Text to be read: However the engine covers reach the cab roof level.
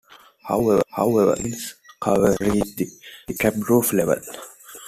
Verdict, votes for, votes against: rejected, 0, 2